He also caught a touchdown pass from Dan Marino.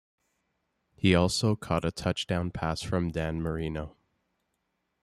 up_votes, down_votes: 2, 0